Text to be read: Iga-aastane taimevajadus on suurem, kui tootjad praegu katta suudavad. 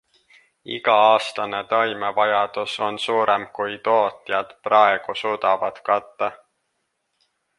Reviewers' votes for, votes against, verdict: 0, 2, rejected